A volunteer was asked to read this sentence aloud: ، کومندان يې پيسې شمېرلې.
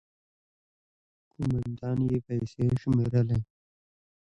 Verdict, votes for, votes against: accepted, 2, 0